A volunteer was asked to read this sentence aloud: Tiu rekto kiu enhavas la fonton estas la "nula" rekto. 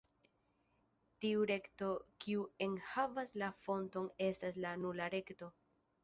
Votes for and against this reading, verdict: 1, 2, rejected